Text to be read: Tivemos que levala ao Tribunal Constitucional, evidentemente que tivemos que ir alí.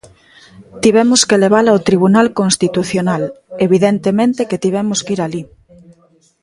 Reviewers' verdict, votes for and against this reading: accepted, 2, 1